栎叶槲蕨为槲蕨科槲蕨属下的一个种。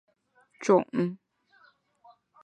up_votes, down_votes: 0, 2